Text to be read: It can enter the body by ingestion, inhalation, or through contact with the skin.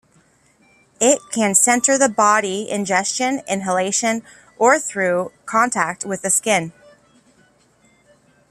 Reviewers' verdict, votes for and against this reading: rejected, 0, 2